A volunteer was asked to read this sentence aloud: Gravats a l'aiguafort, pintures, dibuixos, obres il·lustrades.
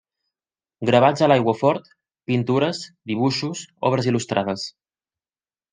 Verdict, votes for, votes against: accepted, 2, 0